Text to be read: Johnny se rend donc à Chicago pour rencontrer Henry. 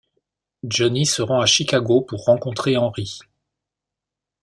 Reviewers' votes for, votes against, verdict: 0, 2, rejected